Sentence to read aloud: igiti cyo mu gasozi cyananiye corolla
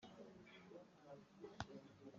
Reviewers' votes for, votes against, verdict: 1, 2, rejected